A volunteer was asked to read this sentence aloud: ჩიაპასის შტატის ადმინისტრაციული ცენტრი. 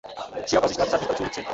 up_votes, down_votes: 0, 2